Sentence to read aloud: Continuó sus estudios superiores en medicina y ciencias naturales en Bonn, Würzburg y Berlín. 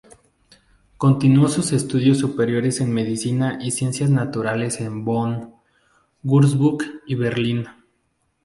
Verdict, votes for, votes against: accepted, 2, 0